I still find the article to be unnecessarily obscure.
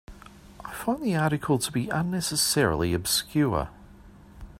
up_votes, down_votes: 1, 2